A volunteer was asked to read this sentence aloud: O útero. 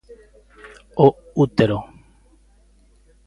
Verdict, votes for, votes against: accepted, 2, 0